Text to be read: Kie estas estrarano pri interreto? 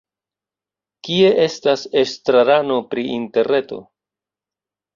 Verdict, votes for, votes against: accepted, 2, 0